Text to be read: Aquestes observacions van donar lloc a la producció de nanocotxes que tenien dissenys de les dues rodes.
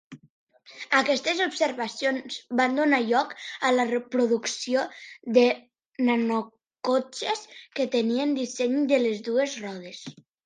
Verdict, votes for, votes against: rejected, 1, 2